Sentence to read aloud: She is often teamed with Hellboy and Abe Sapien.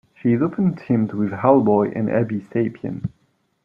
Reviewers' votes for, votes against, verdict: 1, 2, rejected